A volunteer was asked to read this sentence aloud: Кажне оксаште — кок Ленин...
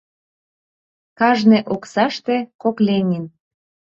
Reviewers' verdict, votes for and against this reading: accepted, 2, 0